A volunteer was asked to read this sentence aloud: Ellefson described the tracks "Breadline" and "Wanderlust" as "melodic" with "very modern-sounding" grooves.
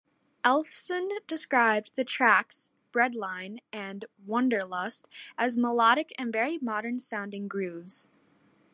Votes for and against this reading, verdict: 1, 2, rejected